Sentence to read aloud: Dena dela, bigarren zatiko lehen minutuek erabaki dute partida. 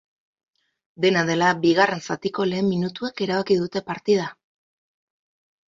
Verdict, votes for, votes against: accepted, 4, 0